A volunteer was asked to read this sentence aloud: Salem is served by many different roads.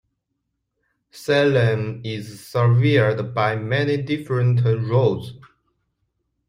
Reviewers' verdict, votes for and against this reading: rejected, 0, 2